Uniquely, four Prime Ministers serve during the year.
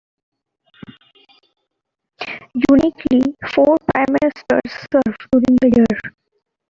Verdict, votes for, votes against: rejected, 0, 2